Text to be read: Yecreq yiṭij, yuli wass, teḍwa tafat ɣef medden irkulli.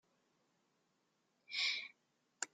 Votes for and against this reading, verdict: 0, 2, rejected